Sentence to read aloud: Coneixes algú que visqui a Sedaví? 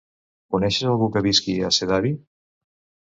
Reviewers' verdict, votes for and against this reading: rejected, 1, 2